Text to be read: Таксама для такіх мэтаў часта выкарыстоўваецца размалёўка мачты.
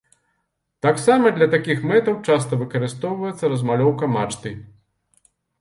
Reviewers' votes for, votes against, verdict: 2, 0, accepted